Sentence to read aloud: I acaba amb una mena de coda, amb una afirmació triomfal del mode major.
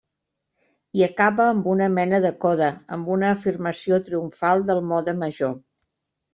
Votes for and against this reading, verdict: 3, 0, accepted